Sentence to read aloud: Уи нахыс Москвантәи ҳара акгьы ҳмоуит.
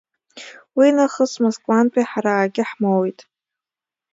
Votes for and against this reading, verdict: 2, 0, accepted